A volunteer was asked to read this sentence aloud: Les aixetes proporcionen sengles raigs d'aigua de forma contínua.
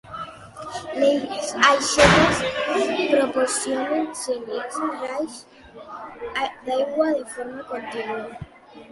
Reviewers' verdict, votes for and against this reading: rejected, 1, 2